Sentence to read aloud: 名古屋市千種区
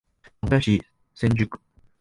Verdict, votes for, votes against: rejected, 0, 2